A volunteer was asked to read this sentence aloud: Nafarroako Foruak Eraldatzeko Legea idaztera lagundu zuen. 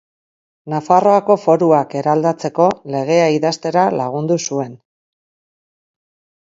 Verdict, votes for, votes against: accepted, 8, 0